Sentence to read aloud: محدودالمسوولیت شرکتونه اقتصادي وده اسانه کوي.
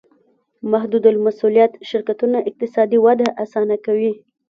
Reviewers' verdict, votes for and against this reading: rejected, 1, 2